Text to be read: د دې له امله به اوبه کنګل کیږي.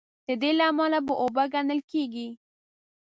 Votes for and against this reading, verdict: 2, 3, rejected